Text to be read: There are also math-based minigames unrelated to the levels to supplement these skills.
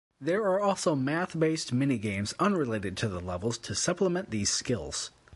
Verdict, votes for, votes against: accepted, 2, 1